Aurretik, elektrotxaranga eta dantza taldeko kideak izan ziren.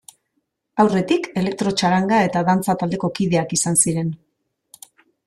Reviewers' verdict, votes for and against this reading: accepted, 2, 0